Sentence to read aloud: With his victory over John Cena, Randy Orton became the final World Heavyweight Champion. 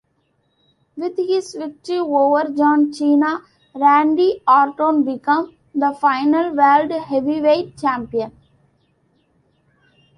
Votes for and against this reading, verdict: 2, 0, accepted